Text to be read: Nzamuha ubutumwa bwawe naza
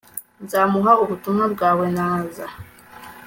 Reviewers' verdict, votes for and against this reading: accepted, 2, 0